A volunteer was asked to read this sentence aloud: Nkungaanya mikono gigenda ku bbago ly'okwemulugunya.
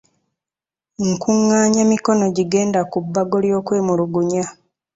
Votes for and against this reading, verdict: 2, 0, accepted